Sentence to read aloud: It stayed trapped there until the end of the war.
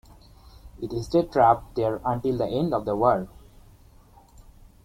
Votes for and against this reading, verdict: 2, 0, accepted